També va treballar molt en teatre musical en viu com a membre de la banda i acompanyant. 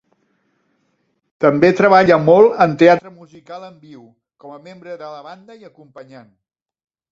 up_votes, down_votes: 0, 2